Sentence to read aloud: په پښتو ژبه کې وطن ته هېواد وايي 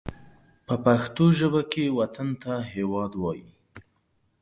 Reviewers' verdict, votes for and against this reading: accepted, 2, 0